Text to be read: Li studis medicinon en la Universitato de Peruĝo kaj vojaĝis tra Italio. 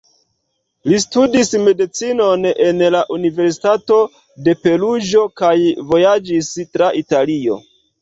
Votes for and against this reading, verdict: 2, 0, accepted